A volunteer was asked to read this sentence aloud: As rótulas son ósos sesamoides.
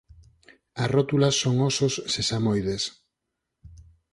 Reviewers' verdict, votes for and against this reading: accepted, 4, 0